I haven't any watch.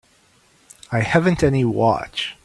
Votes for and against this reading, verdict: 3, 0, accepted